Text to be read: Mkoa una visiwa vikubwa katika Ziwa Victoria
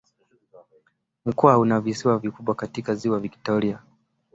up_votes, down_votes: 2, 0